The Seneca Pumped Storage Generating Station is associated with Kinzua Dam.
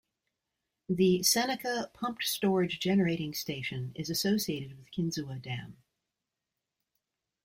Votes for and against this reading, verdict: 2, 0, accepted